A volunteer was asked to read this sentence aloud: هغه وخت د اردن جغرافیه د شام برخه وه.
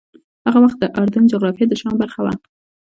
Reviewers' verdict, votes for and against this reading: rejected, 1, 2